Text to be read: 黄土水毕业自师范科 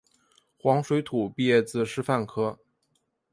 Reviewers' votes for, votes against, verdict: 3, 0, accepted